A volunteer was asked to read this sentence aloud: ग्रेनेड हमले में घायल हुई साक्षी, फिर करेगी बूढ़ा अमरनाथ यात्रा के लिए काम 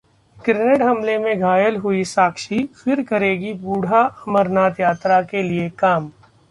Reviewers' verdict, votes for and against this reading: accepted, 2, 0